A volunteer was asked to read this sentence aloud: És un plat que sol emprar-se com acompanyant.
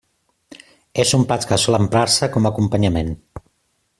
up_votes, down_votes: 0, 2